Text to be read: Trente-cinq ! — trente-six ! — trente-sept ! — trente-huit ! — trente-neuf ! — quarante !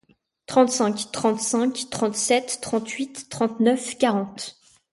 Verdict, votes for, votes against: rejected, 0, 2